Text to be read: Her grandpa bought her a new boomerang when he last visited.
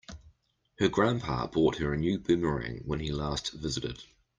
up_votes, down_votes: 2, 0